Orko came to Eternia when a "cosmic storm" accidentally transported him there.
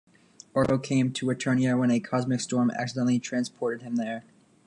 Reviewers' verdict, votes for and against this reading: accepted, 2, 0